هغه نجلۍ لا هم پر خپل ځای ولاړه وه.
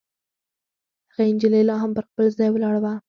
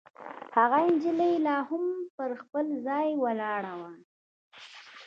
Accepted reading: second